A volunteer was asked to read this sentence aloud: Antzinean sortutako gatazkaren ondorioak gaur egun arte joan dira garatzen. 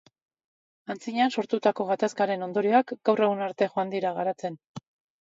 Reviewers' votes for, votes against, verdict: 2, 0, accepted